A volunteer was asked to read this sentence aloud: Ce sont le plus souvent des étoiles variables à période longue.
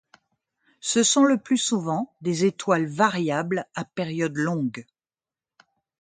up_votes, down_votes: 2, 0